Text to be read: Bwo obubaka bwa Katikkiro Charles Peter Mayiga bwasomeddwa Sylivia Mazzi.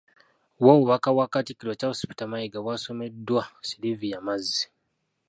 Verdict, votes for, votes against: rejected, 1, 2